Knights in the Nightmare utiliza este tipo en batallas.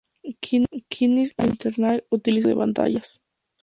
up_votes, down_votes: 0, 2